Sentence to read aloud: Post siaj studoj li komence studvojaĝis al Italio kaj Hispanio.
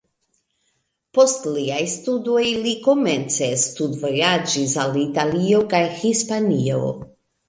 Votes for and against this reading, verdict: 0, 2, rejected